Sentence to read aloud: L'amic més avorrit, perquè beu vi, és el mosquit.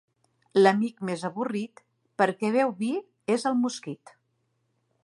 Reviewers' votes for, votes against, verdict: 2, 0, accepted